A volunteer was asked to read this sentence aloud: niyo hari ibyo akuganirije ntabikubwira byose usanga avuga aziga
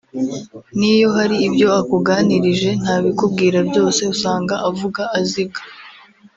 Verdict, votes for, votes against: rejected, 1, 2